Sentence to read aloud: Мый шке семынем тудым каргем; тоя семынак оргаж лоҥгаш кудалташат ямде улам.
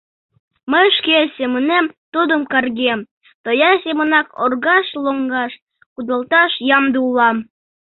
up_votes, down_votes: 0, 2